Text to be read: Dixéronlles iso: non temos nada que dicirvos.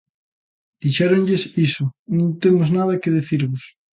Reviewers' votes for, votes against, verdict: 2, 1, accepted